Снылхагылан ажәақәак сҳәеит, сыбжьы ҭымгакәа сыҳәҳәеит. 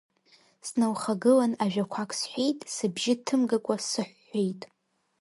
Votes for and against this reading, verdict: 0, 2, rejected